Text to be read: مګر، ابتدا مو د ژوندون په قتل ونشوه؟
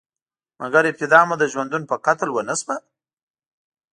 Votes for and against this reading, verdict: 2, 0, accepted